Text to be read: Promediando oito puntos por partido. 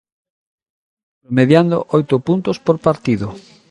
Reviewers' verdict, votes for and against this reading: rejected, 0, 2